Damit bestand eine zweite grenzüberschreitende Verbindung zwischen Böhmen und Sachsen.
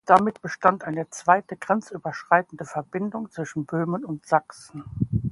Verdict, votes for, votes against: accepted, 2, 0